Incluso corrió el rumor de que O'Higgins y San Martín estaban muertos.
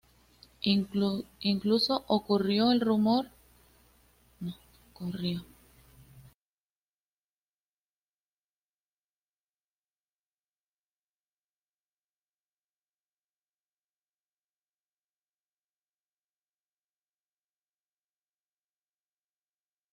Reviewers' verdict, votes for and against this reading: rejected, 1, 2